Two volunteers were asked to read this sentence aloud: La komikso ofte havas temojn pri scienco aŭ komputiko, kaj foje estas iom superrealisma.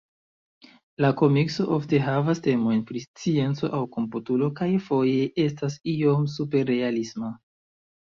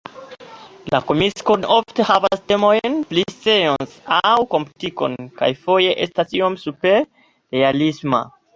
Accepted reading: first